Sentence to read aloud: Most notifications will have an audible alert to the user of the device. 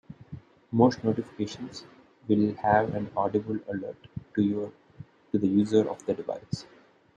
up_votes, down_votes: 0, 2